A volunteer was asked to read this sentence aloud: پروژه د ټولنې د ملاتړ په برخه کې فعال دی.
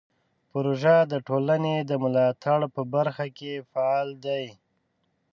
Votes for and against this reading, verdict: 2, 0, accepted